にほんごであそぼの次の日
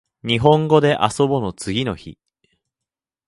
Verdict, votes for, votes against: accepted, 2, 0